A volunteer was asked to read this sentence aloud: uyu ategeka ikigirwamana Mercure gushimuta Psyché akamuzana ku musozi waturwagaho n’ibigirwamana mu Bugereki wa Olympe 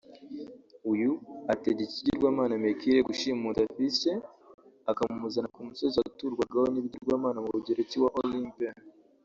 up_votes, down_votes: 1, 2